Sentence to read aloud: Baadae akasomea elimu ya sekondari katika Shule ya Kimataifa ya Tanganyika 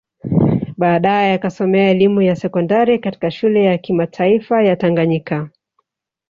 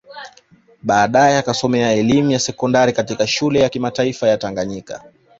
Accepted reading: second